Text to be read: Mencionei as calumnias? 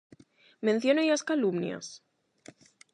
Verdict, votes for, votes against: accepted, 8, 0